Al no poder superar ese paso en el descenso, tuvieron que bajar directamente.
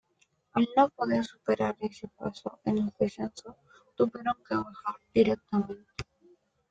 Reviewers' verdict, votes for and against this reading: accepted, 2, 0